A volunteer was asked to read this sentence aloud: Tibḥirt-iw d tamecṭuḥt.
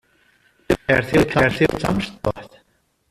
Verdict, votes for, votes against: rejected, 1, 2